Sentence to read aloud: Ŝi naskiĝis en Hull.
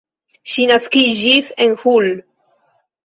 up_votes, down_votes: 0, 2